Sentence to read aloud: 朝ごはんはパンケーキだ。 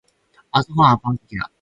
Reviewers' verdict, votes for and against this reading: rejected, 0, 4